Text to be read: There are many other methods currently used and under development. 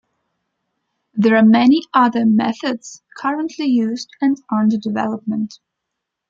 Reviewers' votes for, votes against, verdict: 2, 0, accepted